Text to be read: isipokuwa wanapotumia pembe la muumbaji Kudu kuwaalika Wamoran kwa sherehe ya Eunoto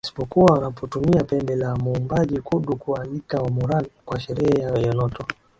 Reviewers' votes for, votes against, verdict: 2, 0, accepted